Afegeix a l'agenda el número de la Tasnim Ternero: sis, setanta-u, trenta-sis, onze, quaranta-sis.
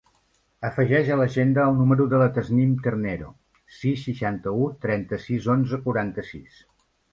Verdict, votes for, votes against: rejected, 0, 2